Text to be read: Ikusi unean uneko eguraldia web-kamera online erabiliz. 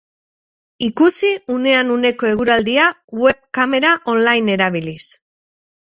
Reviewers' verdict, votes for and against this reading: accepted, 8, 0